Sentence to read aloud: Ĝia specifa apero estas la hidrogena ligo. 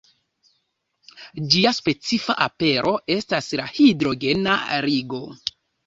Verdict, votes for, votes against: rejected, 0, 2